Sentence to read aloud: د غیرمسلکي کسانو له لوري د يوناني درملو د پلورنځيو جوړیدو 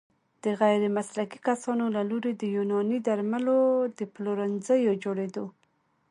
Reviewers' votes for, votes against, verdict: 2, 0, accepted